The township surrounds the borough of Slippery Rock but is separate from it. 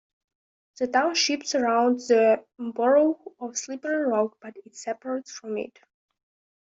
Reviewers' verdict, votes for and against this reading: accepted, 2, 0